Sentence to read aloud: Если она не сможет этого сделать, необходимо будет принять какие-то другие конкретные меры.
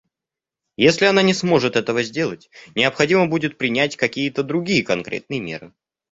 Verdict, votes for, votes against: accepted, 2, 0